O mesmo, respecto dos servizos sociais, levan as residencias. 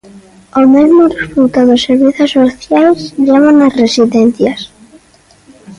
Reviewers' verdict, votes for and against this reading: rejected, 0, 2